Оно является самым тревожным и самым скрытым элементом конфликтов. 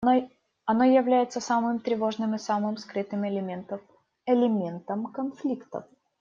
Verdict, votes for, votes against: rejected, 0, 2